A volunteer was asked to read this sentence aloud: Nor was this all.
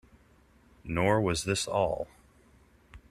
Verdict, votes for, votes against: accepted, 2, 0